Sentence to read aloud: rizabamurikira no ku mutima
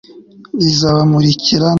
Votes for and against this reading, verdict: 0, 2, rejected